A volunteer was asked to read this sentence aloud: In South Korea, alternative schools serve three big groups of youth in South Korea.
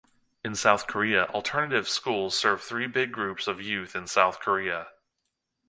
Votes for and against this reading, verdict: 2, 0, accepted